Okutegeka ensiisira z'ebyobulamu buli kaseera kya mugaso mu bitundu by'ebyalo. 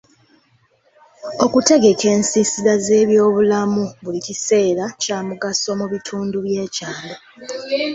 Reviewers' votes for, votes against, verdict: 1, 2, rejected